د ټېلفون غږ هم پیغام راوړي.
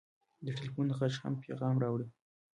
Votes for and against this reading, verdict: 2, 0, accepted